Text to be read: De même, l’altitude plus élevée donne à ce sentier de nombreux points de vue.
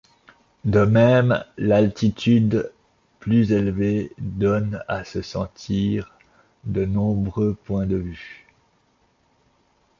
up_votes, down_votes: 1, 2